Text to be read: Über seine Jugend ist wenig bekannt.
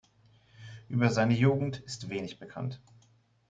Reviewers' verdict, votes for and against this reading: accepted, 2, 1